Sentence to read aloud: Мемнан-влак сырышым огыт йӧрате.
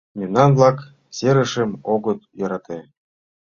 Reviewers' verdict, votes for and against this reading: rejected, 1, 2